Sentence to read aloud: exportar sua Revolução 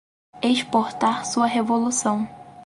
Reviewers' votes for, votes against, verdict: 4, 0, accepted